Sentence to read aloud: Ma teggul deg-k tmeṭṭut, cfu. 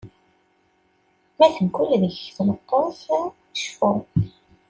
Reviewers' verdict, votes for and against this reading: accepted, 2, 0